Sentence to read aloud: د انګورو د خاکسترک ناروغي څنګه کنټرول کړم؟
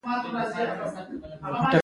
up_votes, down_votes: 1, 2